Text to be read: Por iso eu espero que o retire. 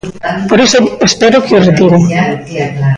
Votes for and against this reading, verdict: 0, 2, rejected